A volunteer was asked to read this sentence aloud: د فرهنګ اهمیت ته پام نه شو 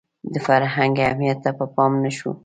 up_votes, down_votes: 2, 0